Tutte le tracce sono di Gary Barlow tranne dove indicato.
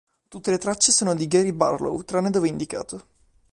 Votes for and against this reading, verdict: 2, 0, accepted